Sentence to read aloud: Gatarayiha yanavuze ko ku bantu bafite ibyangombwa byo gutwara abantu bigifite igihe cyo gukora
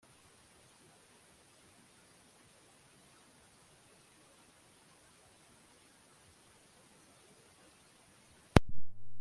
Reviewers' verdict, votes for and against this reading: rejected, 0, 2